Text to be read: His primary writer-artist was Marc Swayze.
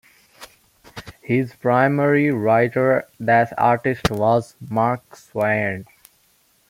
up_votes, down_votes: 0, 2